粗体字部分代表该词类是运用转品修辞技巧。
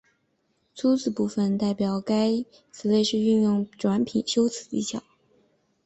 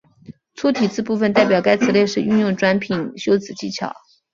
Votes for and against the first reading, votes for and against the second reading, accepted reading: 3, 0, 1, 2, first